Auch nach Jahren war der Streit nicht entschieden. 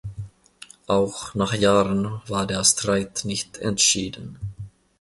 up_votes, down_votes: 1, 2